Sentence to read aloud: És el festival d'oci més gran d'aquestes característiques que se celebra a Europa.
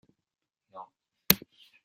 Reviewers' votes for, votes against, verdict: 0, 2, rejected